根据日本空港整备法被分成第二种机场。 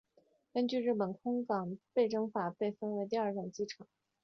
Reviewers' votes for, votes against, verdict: 1, 2, rejected